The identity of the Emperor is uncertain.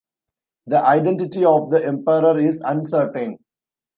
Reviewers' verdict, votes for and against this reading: accepted, 2, 0